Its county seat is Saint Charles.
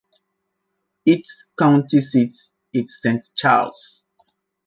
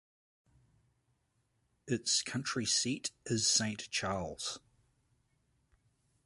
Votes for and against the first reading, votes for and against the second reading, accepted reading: 2, 0, 1, 2, first